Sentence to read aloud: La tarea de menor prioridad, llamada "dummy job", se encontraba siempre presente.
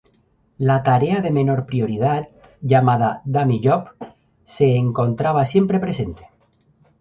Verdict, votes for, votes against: rejected, 2, 2